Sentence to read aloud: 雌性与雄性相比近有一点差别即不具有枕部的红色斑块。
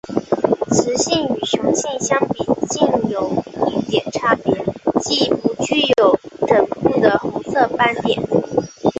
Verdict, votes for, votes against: accepted, 2, 0